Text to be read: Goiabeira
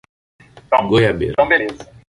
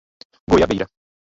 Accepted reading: second